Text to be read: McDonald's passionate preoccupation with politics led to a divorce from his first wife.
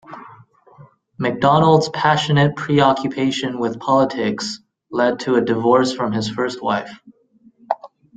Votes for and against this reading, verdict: 2, 0, accepted